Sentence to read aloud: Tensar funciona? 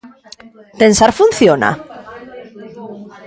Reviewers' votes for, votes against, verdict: 1, 2, rejected